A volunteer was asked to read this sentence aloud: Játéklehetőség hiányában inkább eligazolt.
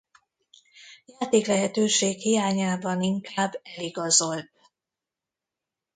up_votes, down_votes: 1, 2